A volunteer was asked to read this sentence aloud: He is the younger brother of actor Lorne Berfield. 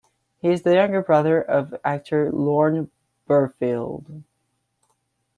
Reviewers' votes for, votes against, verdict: 2, 1, accepted